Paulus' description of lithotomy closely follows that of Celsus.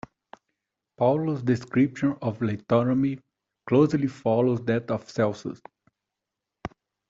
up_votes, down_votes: 2, 1